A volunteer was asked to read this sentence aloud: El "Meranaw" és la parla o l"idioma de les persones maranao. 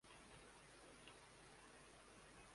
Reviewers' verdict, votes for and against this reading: rejected, 0, 2